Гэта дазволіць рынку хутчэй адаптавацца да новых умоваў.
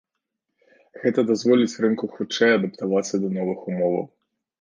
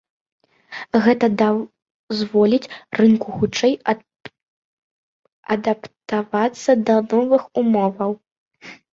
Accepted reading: first